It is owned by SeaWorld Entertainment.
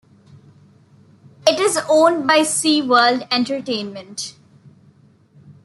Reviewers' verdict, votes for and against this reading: accepted, 2, 0